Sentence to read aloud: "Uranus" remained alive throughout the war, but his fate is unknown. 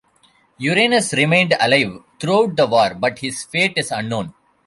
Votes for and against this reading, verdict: 2, 0, accepted